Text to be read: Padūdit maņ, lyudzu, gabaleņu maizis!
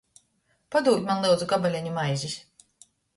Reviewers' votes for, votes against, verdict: 0, 2, rejected